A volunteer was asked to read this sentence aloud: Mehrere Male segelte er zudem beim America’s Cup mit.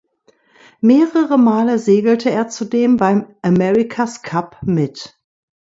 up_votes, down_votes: 2, 0